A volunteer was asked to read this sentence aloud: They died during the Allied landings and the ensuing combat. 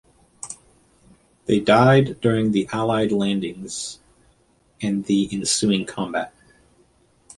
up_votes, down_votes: 2, 0